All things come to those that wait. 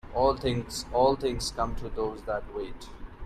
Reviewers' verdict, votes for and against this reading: rejected, 1, 2